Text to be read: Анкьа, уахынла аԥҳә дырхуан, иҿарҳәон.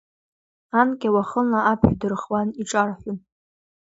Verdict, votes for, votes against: accepted, 2, 0